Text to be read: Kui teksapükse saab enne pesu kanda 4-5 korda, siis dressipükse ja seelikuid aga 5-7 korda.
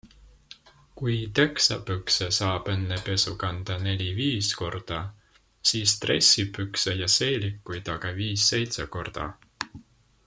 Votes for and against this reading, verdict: 0, 2, rejected